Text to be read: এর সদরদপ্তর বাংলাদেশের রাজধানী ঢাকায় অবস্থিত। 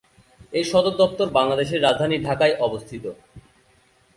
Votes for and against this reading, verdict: 2, 0, accepted